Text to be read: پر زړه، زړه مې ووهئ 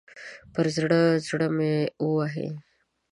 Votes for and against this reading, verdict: 2, 0, accepted